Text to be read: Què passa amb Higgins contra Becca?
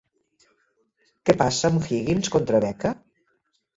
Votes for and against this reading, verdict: 2, 0, accepted